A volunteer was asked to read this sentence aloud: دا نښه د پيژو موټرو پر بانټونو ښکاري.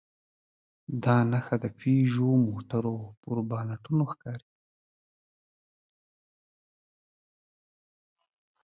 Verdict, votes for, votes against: accepted, 2, 0